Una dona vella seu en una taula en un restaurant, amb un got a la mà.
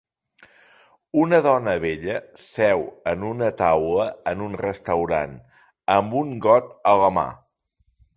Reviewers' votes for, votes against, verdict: 6, 0, accepted